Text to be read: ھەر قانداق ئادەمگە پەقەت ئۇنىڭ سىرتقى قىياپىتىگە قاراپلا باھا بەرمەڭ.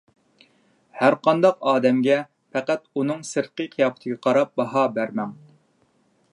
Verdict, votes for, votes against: accepted, 2, 1